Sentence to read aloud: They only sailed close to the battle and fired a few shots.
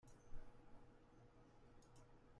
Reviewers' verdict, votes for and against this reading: rejected, 0, 2